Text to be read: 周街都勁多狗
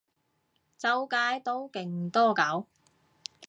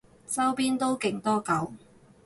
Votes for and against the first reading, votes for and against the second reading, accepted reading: 2, 0, 2, 2, first